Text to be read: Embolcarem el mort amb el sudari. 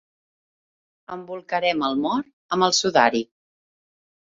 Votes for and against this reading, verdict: 2, 0, accepted